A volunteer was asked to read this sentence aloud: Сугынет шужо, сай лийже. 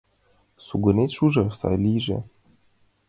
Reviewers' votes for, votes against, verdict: 2, 0, accepted